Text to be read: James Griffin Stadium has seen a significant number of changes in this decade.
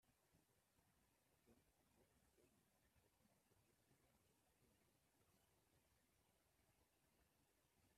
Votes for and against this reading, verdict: 0, 2, rejected